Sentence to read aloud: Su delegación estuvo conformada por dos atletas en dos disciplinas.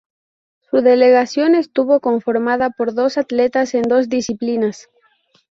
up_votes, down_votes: 2, 0